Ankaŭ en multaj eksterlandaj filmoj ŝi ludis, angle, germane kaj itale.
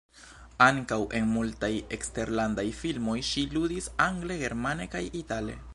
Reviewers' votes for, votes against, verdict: 1, 2, rejected